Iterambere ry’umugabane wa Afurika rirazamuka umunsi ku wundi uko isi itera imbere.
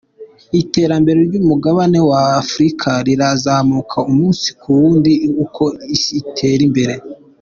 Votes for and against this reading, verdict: 2, 0, accepted